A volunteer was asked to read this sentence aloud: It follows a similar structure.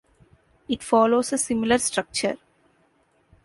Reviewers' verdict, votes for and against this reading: accepted, 2, 0